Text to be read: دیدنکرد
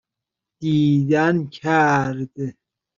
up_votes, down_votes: 2, 0